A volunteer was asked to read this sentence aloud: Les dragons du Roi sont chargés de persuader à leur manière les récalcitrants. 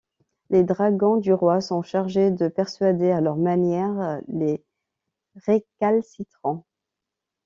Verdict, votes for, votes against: rejected, 1, 2